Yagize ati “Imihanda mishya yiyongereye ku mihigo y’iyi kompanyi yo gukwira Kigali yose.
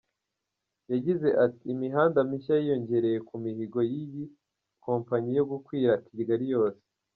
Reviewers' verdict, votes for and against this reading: accepted, 2, 0